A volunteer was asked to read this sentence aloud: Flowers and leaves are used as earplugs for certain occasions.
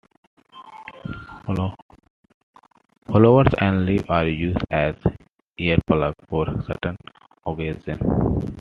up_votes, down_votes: 0, 2